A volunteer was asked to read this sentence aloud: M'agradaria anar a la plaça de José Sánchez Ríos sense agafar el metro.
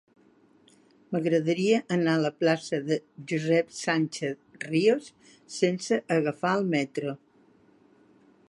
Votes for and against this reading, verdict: 1, 2, rejected